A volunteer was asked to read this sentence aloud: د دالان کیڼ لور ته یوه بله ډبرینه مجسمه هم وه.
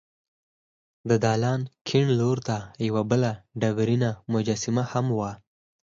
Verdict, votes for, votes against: accepted, 4, 0